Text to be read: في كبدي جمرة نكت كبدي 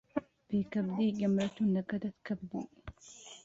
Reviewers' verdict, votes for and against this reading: rejected, 0, 2